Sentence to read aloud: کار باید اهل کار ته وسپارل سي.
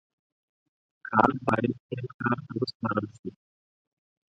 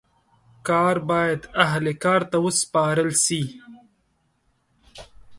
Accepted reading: second